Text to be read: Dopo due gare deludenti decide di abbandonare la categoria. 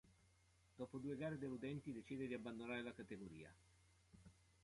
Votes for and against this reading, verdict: 0, 2, rejected